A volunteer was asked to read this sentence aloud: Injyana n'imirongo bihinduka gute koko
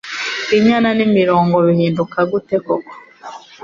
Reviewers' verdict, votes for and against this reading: accepted, 2, 0